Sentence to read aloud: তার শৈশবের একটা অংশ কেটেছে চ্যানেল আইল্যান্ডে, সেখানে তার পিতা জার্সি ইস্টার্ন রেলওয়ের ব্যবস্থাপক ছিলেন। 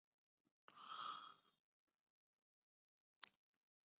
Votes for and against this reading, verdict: 0, 2, rejected